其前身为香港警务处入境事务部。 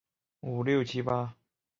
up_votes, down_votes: 3, 8